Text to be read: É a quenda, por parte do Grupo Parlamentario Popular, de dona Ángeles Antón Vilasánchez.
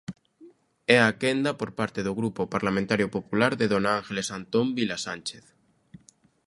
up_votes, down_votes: 2, 0